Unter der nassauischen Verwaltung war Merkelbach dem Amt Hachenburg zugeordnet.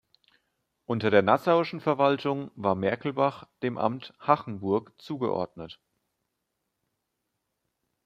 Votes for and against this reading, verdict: 2, 0, accepted